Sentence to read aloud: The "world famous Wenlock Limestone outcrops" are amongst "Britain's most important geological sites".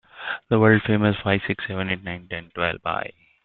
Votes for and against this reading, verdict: 0, 2, rejected